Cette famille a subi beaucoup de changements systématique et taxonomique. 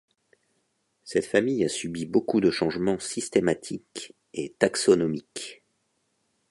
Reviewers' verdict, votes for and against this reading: accepted, 2, 1